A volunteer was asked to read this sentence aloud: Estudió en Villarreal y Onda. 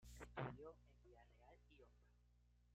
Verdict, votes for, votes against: rejected, 1, 2